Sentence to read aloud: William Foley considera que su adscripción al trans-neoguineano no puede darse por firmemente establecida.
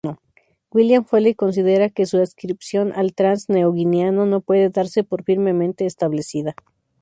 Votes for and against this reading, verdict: 2, 0, accepted